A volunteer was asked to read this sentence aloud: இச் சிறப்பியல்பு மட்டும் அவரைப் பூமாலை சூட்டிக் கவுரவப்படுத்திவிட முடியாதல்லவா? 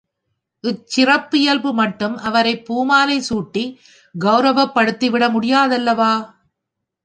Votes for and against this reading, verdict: 2, 0, accepted